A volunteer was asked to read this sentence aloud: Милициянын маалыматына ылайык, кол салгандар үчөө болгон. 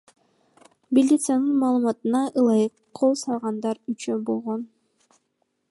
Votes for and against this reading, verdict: 2, 0, accepted